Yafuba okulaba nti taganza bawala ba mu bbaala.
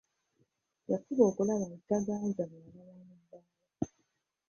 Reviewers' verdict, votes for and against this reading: rejected, 0, 2